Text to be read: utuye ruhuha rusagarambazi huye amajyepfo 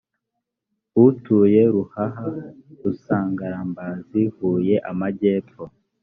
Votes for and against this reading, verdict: 1, 2, rejected